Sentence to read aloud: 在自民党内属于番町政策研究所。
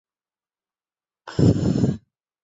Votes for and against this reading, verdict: 0, 3, rejected